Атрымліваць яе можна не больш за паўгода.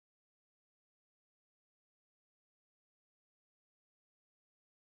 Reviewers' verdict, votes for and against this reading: rejected, 0, 3